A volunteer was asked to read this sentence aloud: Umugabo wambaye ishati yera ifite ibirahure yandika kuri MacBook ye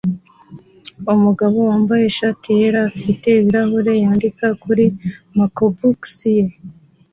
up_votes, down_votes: 2, 0